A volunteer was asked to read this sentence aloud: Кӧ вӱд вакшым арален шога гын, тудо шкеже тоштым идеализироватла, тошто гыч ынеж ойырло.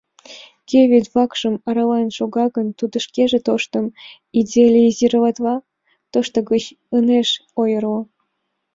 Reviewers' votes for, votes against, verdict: 2, 1, accepted